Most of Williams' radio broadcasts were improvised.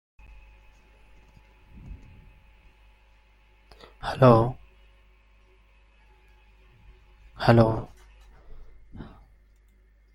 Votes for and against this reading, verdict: 0, 2, rejected